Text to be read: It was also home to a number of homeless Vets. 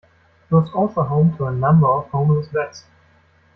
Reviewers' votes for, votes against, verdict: 2, 1, accepted